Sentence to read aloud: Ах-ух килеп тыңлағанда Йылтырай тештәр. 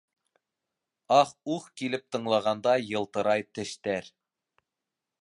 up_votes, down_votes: 3, 0